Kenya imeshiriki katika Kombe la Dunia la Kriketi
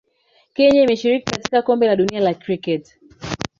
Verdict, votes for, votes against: rejected, 1, 2